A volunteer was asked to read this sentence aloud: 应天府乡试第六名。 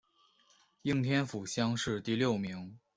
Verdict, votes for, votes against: accepted, 3, 0